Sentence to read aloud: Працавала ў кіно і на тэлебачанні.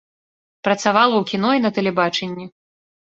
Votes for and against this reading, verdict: 2, 0, accepted